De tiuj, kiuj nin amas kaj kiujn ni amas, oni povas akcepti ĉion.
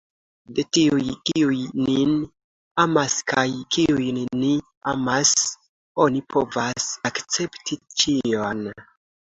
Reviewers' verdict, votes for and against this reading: accepted, 2, 0